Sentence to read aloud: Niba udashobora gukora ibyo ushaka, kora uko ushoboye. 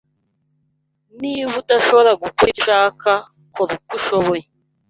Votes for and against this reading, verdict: 1, 2, rejected